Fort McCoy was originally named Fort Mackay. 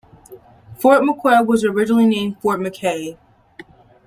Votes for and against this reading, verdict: 0, 2, rejected